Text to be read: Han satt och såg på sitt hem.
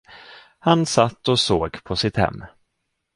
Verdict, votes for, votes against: accepted, 2, 0